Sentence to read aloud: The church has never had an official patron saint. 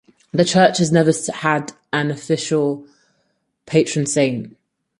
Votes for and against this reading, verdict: 2, 4, rejected